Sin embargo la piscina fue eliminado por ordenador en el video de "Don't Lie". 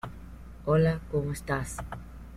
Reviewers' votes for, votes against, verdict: 0, 2, rejected